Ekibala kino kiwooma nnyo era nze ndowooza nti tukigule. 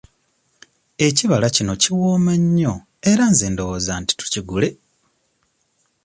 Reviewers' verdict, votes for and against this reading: accepted, 2, 0